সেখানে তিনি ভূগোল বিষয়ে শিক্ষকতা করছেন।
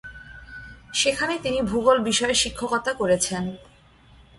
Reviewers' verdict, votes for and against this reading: rejected, 2, 3